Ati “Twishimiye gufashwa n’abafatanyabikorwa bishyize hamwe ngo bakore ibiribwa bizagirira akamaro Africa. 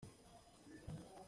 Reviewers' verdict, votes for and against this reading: rejected, 0, 2